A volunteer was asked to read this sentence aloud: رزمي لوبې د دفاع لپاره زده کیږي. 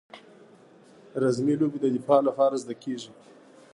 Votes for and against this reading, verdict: 1, 2, rejected